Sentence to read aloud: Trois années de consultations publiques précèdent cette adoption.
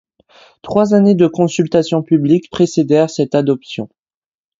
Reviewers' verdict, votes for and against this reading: rejected, 0, 2